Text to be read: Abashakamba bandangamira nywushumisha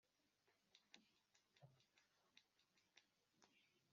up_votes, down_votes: 0, 2